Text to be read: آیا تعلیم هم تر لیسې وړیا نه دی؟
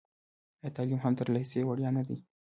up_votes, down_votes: 2, 1